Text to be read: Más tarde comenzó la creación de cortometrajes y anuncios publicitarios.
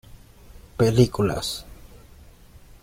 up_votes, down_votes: 0, 2